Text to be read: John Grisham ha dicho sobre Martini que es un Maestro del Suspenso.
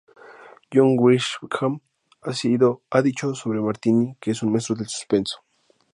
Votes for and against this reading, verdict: 0, 2, rejected